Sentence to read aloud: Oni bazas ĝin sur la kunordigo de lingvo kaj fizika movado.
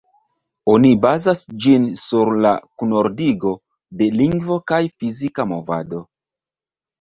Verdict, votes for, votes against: rejected, 0, 2